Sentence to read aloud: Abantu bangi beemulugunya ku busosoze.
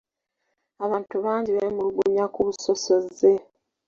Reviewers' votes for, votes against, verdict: 2, 1, accepted